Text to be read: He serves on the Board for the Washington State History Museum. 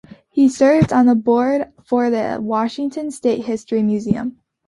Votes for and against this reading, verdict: 2, 1, accepted